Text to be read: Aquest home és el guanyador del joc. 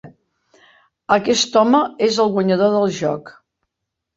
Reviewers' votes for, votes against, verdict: 2, 0, accepted